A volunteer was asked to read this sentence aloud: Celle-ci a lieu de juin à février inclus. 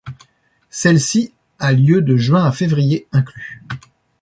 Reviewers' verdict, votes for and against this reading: accepted, 2, 0